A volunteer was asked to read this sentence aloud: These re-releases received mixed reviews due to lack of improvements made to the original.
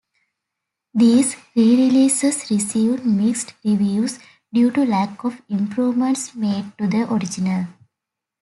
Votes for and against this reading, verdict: 2, 0, accepted